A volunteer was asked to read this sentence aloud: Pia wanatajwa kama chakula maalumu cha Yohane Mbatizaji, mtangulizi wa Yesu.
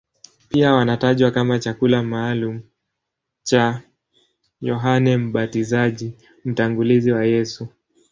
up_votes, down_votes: 3, 0